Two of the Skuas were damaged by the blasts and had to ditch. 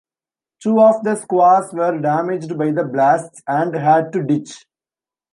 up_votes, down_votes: 2, 0